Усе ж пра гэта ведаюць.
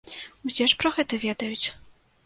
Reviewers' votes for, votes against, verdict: 2, 0, accepted